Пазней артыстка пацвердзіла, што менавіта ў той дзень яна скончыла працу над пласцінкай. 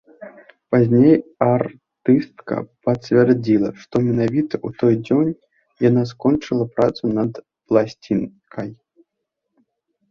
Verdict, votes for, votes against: rejected, 0, 2